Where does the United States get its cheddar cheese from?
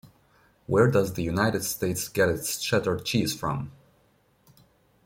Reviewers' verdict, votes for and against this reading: rejected, 1, 2